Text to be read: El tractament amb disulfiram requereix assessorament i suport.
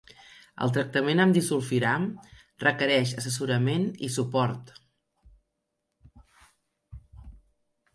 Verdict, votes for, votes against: accepted, 3, 0